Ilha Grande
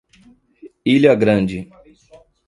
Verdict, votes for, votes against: accepted, 2, 0